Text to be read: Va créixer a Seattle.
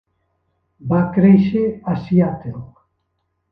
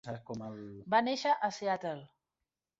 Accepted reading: first